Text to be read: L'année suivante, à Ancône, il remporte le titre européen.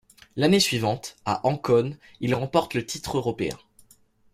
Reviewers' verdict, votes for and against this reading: accepted, 2, 0